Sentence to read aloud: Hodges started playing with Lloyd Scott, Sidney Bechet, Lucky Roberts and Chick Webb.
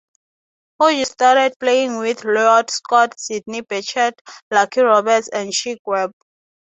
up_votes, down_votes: 3, 0